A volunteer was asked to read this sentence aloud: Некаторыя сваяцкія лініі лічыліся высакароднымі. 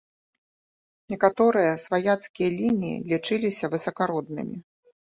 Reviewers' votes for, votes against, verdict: 2, 0, accepted